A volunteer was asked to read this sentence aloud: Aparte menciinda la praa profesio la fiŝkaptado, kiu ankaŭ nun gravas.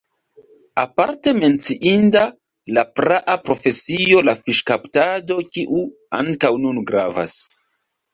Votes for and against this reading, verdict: 0, 2, rejected